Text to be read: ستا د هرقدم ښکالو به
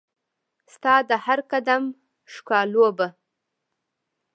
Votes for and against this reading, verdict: 2, 0, accepted